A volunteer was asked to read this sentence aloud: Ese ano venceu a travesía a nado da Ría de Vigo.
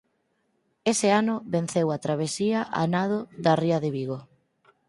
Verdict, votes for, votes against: accepted, 4, 0